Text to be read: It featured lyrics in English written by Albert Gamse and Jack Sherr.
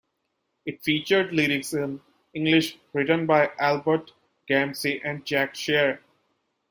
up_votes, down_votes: 2, 0